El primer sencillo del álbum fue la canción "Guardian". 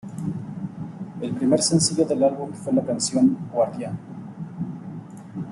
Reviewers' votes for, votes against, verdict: 2, 0, accepted